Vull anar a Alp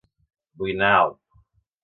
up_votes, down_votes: 3, 4